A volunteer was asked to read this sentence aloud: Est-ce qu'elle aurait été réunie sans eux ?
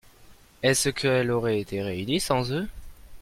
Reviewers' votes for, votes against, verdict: 1, 2, rejected